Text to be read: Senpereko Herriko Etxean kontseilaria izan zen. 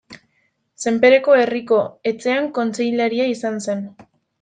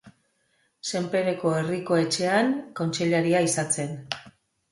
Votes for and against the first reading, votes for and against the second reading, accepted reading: 0, 2, 2, 0, second